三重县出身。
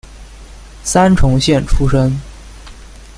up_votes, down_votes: 2, 0